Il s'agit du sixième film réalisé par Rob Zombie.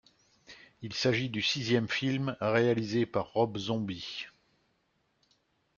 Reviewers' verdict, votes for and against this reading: accepted, 2, 0